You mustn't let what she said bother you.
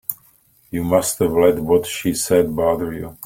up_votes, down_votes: 1, 2